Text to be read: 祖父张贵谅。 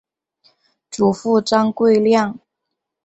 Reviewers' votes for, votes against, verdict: 5, 1, accepted